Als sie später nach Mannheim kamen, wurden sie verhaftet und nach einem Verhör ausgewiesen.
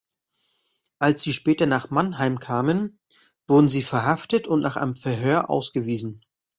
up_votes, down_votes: 2, 0